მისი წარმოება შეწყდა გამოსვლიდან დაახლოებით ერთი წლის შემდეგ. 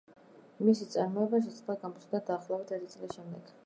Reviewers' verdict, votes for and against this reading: rejected, 0, 2